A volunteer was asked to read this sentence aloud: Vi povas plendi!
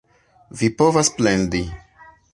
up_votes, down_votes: 2, 1